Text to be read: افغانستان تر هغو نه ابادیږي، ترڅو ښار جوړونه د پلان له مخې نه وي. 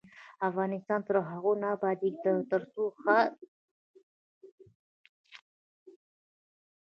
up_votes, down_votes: 1, 2